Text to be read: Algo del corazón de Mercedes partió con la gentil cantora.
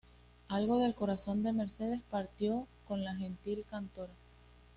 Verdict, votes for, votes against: accepted, 2, 0